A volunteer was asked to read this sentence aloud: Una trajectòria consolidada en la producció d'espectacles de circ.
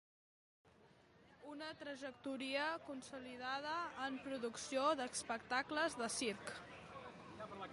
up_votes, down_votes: 0, 2